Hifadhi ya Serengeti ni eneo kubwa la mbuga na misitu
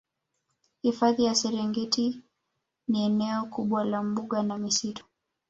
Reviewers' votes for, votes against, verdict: 2, 1, accepted